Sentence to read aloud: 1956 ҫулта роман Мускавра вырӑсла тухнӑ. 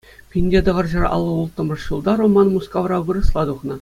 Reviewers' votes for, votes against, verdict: 0, 2, rejected